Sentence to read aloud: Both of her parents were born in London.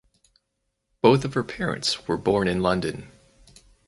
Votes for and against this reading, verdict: 4, 0, accepted